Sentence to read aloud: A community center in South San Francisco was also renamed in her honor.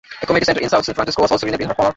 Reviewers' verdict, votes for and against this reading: rejected, 0, 2